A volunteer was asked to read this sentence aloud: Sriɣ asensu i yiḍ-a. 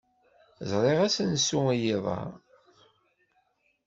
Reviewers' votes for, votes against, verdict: 0, 2, rejected